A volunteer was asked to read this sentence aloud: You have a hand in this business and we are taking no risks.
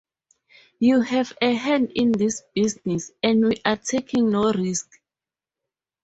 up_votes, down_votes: 0, 4